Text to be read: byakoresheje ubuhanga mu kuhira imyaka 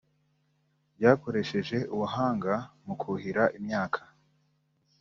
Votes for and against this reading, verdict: 2, 0, accepted